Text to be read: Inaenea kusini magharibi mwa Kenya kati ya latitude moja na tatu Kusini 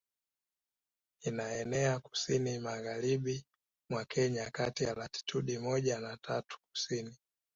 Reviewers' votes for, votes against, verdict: 2, 0, accepted